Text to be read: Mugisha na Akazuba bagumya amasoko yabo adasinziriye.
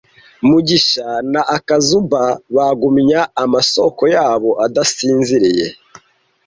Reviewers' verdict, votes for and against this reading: rejected, 1, 2